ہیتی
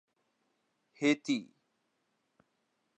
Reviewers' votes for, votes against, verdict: 2, 0, accepted